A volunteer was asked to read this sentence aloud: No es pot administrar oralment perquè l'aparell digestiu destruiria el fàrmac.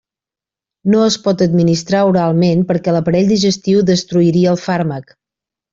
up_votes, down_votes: 4, 0